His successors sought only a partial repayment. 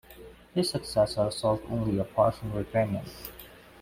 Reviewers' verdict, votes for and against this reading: rejected, 1, 2